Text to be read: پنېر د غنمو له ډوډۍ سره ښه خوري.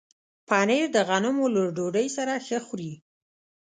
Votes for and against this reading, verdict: 2, 0, accepted